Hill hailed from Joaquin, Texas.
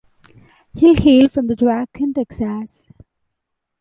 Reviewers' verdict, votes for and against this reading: rejected, 1, 2